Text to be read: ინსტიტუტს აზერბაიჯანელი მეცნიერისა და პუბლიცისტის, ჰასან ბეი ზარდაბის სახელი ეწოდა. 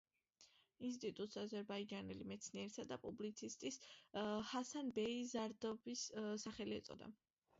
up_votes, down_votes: 2, 0